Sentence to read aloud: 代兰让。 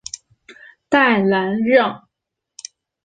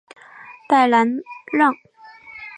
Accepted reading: first